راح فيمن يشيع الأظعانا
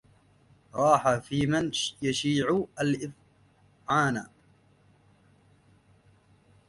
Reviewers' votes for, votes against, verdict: 0, 2, rejected